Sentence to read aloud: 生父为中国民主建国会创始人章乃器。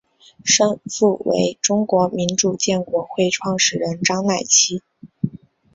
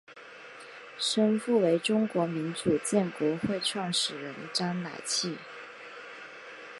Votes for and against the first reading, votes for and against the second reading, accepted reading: 0, 2, 2, 0, second